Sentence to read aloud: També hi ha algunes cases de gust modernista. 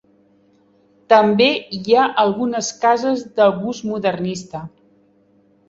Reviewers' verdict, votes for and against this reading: accepted, 3, 0